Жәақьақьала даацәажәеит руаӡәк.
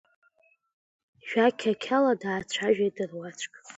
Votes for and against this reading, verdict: 2, 0, accepted